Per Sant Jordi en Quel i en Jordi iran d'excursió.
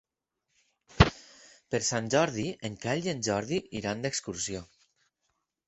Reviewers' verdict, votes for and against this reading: accepted, 4, 0